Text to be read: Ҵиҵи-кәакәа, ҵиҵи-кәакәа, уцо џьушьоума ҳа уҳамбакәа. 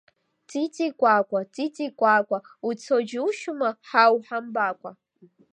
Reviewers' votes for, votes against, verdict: 2, 0, accepted